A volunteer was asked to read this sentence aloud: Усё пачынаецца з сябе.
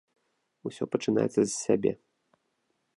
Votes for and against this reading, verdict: 2, 0, accepted